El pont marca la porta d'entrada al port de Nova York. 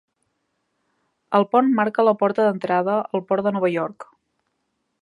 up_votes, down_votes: 3, 0